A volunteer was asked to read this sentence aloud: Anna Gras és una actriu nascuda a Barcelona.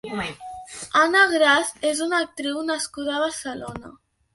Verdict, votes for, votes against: accepted, 5, 0